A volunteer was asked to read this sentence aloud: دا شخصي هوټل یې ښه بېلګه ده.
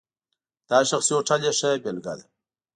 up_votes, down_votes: 2, 1